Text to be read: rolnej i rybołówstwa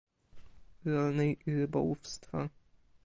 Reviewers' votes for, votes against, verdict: 0, 2, rejected